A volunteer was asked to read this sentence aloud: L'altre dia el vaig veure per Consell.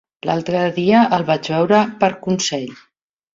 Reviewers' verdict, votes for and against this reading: accepted, 3, 0